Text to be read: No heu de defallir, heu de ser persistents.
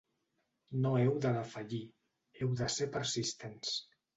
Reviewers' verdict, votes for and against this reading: accepted, 2, 0